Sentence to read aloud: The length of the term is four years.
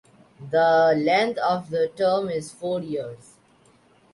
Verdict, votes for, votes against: accepted, 2, 1